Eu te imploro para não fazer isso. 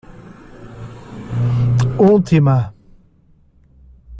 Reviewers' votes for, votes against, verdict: 0, 2, rejected